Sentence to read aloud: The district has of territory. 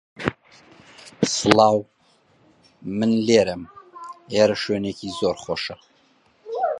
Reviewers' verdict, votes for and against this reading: rejected, 0, 2